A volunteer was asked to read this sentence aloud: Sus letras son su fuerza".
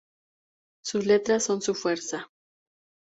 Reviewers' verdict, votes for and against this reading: accepted, 2, 0